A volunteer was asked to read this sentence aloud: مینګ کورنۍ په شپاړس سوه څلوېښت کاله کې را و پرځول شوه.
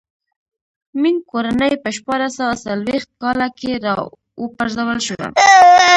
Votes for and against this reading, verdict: 1, 2, rejected